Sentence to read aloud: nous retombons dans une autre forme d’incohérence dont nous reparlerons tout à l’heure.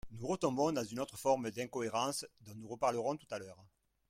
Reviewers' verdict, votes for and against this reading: rejected, 1, 2